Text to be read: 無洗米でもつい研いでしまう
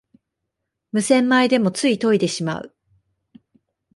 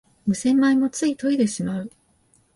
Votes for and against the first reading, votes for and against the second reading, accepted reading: 2, 0, 1, 2, first